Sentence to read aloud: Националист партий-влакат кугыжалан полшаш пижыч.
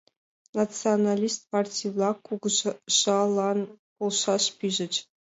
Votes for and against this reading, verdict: 2, 1, accepted